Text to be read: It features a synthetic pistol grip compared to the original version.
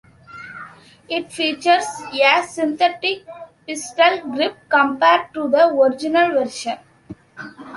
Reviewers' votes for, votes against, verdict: 0, 2, rejected